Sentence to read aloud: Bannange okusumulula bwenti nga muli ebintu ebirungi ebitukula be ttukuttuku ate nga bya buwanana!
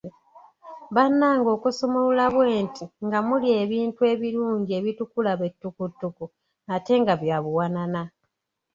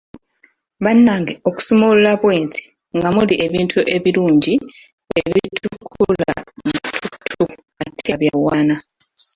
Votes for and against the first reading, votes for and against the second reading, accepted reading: 2, 0, 0, 2, first